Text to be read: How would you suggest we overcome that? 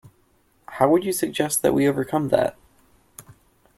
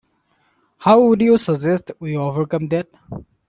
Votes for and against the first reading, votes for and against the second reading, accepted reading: 1, 2, 2, 1, second